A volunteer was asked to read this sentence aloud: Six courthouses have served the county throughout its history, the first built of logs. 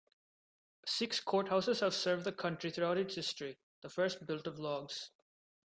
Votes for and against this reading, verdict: 1, 2, rejected